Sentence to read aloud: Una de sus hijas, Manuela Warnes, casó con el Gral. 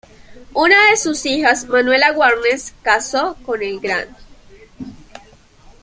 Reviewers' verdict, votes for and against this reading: rejected, 0, 2